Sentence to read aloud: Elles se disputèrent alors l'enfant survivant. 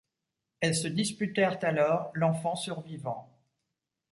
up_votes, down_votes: 2, 0